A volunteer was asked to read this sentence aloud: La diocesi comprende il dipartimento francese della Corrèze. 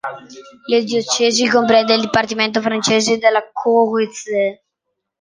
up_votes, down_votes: 0, 2